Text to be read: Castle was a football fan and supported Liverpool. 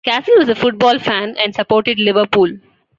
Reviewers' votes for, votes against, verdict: 2, 0, accepted